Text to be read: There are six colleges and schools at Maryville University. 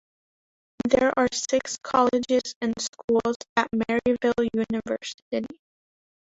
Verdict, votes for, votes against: rejected, 0, 2